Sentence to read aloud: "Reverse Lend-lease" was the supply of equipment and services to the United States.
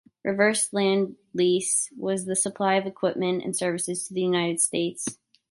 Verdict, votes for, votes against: accepted, 2, 0